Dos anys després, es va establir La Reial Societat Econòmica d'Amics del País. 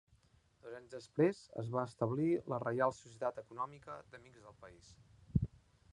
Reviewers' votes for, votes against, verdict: 0, 2, rejected